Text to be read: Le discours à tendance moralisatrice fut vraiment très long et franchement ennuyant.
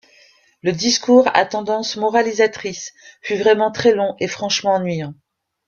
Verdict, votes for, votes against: accepted, 2, 1